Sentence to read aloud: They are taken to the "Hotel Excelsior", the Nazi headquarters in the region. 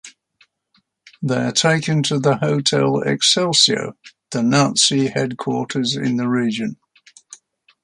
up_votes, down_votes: 2, 0